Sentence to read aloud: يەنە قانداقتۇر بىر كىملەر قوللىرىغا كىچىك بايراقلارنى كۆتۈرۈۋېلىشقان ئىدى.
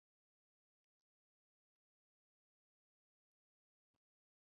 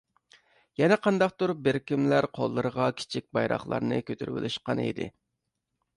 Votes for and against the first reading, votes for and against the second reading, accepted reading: 0, 2, 2, 0, second